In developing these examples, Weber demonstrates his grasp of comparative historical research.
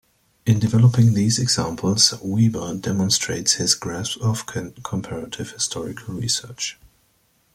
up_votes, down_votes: 2, 0